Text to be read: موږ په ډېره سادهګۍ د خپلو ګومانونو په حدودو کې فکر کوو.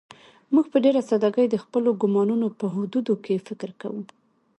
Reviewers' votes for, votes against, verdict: 2, 0, accepted